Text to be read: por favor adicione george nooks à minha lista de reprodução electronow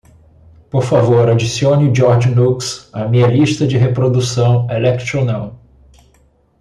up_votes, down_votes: 1, 2